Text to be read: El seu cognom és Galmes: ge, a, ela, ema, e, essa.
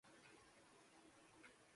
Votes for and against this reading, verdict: 0, 2, rejected